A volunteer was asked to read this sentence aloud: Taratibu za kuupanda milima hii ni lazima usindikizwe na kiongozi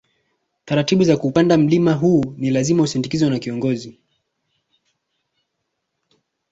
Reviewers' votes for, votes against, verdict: 2, 1, accepted